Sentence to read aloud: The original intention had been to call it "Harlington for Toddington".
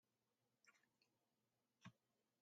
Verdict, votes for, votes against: rejected, 0, 2